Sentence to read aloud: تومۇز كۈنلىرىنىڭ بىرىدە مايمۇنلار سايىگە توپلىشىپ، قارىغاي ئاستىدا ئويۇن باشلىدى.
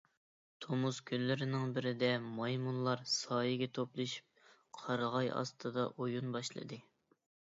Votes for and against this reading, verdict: 3, 0, accepted